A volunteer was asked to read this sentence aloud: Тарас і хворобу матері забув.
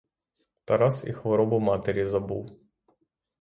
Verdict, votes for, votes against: accepted, 6, 0